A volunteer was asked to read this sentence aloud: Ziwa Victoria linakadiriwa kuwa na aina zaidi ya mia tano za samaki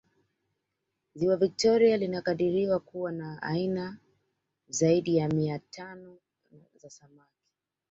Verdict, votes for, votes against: accepted, 2, 1